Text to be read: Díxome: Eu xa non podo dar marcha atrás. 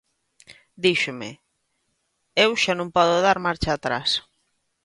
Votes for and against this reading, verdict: 2, 0, accepted